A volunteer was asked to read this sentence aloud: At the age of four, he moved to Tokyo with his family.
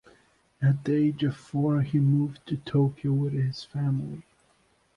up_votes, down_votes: 2, 0